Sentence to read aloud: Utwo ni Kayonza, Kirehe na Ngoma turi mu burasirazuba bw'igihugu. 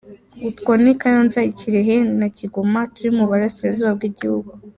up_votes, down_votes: 1, 2